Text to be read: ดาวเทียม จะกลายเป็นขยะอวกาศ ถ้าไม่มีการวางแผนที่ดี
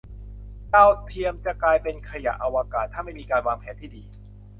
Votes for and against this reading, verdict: 2, 0, accepted